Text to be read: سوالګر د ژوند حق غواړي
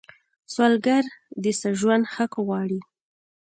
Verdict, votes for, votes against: rejected, 0, 2